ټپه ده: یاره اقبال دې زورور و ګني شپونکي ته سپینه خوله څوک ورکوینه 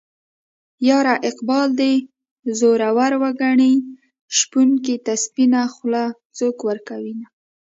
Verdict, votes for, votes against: rejected, 0, 2